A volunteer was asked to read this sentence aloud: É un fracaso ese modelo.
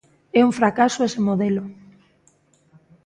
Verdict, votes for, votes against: accepted, 2, 0